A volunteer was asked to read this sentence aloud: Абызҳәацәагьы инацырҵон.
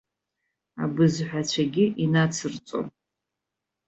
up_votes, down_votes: 0, 2